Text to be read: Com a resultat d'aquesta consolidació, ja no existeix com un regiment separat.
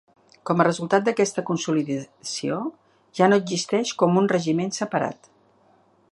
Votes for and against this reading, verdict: 1, 2, rejected